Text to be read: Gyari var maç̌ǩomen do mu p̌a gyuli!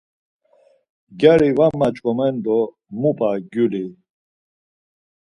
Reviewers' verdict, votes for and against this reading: accepted, 4, 0